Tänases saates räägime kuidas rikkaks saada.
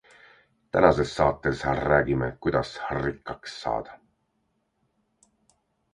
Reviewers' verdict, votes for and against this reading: accepted, 2, 0